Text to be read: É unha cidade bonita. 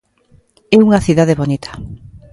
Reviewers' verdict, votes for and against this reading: accepted, 2, 0